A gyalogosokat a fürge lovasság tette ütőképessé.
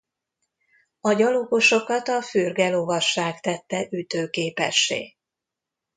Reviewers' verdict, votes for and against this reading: accepted, 2, 0